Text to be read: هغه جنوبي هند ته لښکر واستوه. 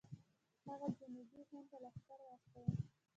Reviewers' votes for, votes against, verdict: 2, 1, accepted